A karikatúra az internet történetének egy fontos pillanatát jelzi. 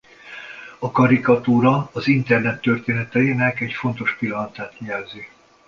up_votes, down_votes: 0, 2